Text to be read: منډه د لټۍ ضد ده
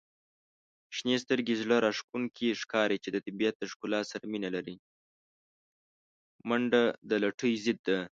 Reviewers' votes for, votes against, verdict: 0, 2, rejected